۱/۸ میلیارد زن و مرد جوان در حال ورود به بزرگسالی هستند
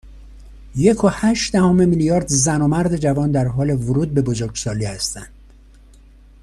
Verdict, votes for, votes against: rejected, 0, 2